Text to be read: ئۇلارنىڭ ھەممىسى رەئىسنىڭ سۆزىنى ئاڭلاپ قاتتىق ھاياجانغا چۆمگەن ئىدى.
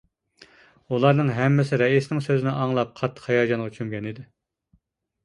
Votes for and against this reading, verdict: 2, 0, accepted